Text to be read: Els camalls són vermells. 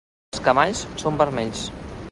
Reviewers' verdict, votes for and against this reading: rejected, 0, 2